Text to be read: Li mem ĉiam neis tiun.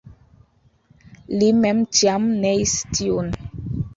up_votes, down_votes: 1, 2